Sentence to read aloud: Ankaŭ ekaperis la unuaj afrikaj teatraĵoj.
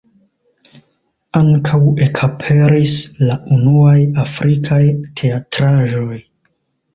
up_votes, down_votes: 2, 0